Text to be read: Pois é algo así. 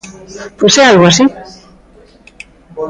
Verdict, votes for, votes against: rejected, 1, 2